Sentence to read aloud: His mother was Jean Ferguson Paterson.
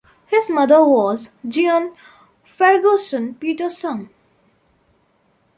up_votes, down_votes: 1, 2